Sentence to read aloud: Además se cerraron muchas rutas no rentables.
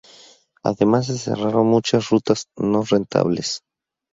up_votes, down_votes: 2, 0